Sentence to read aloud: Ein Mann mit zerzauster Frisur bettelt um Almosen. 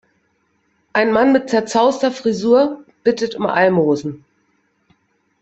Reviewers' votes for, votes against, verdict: 0, 2, rejected